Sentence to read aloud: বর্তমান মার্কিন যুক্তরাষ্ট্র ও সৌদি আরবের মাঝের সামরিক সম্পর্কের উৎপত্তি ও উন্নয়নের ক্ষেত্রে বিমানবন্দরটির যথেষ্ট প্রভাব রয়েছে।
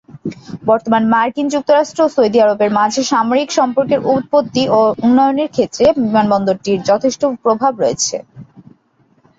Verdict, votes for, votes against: accepted, 8, 0